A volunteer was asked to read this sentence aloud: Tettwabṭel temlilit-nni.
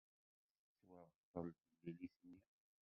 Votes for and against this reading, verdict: 1, 2, rejected